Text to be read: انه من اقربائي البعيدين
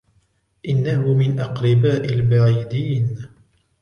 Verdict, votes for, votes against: rejected, 1, 2